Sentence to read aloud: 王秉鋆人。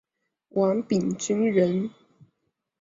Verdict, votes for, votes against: accepted, 2, 0